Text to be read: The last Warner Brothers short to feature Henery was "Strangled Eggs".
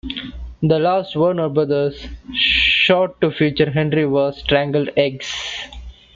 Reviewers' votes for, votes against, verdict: 2, 0, accepted